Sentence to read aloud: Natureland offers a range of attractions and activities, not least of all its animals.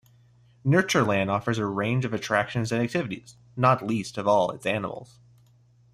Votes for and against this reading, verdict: 2, 0, accepted